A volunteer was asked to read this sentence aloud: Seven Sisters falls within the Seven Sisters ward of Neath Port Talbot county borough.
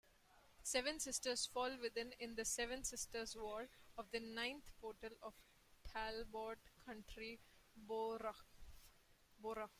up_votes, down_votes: 0, 2